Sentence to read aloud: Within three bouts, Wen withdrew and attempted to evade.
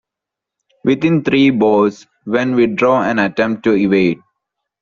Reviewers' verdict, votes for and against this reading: rejected, 1, 2